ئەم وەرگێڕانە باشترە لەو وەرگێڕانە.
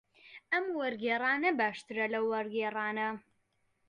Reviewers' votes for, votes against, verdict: 2, 0, accepted